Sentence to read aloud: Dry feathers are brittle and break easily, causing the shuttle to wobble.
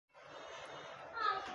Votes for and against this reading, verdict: 0, 2, rejected